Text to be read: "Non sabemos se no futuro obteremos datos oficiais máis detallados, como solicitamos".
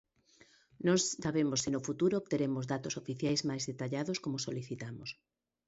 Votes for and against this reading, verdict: 1, 2, rejected